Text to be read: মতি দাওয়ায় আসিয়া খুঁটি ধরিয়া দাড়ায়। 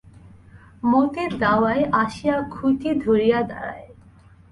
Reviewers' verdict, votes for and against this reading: accepted, 2, 0